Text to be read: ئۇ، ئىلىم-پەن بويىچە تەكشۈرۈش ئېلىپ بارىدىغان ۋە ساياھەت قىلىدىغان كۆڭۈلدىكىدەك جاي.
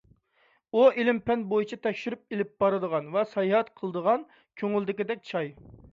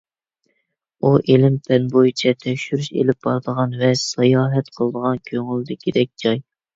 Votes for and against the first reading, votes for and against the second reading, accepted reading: 1, 2, 2, 0, second